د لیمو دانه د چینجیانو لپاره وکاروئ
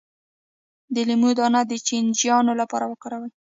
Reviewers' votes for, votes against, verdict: 1, 2, rejected